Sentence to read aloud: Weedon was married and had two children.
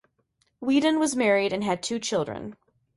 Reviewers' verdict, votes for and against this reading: accepted, 2, 0